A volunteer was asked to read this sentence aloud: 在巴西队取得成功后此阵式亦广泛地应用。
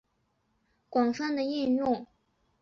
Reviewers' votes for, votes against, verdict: 1, 2, rejected